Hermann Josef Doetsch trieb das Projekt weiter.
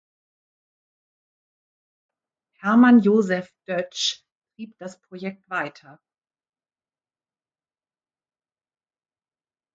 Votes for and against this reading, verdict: 1, 2, rejected